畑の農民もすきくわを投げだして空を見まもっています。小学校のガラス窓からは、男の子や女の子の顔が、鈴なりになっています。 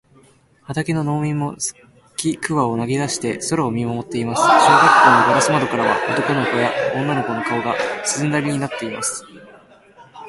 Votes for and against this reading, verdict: 0, 2, rejected